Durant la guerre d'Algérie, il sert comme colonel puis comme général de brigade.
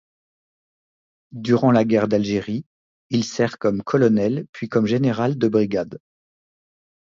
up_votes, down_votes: 2, 0